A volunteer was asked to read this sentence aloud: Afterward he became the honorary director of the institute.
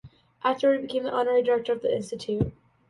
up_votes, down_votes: 2, 0